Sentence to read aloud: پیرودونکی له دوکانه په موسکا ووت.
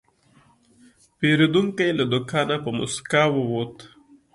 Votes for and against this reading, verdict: 2, 0, accepted